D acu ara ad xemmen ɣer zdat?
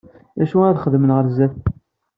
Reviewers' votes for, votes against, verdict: 2, 0, accepted